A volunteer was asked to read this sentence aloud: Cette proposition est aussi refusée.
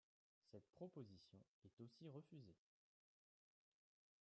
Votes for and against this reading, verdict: 2, 1, accepted